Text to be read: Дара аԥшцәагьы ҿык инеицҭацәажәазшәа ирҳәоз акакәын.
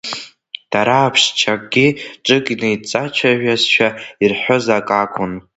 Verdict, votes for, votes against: rejected, 0, 2